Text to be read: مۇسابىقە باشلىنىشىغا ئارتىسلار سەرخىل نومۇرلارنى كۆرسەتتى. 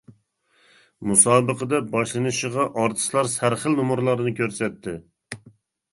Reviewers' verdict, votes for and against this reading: rejected, 0, 2